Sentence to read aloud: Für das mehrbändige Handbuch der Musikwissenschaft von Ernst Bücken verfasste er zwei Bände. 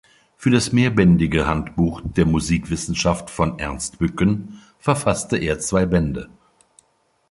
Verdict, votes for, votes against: accepted, 2, 0